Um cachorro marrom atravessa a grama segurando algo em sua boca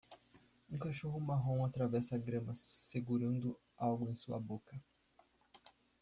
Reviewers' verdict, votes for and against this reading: rejected, 1, 2